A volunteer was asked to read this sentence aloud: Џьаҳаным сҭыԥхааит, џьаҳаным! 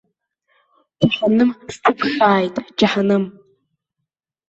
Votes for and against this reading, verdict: 0, 2, rejected